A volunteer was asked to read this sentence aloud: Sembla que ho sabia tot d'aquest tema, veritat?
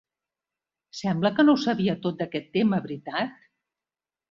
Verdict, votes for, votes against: rejected, 0, 2